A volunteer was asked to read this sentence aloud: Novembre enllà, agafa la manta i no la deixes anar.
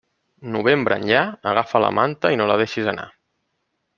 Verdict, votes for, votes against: rejected, 1, 2